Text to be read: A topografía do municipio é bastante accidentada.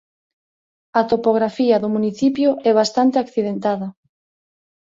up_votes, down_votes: 2, 0